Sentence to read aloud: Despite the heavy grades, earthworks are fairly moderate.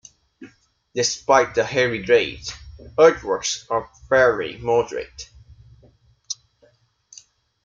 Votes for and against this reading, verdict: 2, 0, accepted